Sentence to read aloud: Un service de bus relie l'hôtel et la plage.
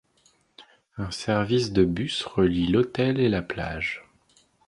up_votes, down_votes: 2, 0